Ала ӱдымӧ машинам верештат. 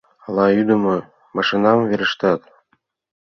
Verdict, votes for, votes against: accepted, 2, 0